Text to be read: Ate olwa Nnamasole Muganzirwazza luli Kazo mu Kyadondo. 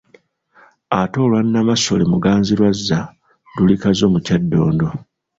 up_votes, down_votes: 1, 2